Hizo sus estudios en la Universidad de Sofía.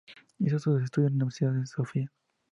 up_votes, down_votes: 2, 0